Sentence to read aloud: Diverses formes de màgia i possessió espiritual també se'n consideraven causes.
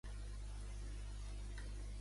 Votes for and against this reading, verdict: 0, 2, rejected